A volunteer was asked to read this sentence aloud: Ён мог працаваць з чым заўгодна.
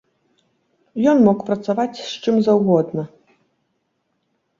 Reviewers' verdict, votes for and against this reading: rejected, 1, 3